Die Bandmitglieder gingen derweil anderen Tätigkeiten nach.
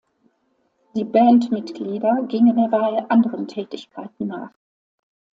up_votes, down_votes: 2, 0